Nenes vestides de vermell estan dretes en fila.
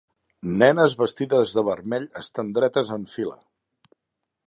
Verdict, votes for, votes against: accepted, 2, 0